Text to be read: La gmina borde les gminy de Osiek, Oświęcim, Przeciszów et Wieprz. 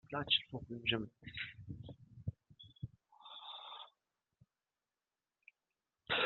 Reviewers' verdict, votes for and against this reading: rejected, 0, 2